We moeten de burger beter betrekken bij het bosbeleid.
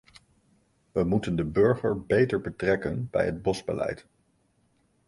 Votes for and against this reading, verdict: 2, 0, accepted